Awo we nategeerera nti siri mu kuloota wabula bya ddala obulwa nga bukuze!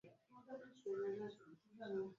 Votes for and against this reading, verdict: 0, 2, rejected